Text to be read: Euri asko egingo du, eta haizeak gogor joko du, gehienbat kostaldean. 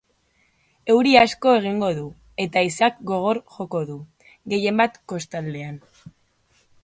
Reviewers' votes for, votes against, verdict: 2, 0, accepted